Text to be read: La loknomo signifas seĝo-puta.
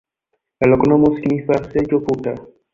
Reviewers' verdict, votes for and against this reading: rejected, 0, 2